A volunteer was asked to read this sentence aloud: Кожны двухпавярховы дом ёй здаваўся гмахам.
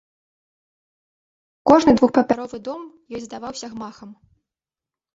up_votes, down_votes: 0, 2